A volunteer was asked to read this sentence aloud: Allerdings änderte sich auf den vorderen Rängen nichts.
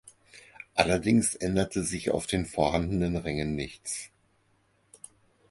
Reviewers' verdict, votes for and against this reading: rejected, 2, 6